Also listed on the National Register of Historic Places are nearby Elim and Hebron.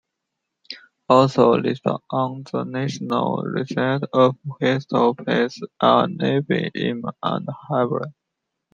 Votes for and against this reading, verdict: 1, 2, rejected